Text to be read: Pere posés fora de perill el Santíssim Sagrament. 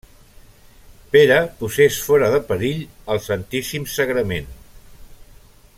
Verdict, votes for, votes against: rejected, 1, 2